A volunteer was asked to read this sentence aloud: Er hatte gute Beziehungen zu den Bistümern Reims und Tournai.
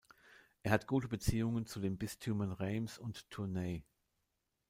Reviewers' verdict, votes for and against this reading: rejected, 0, 2